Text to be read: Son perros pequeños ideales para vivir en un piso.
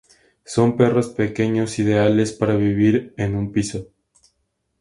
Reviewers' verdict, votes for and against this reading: accepted, 2, 0